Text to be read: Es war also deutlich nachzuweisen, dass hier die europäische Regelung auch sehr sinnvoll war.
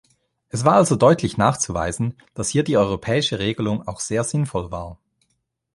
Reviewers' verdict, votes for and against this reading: accepted, 2, 0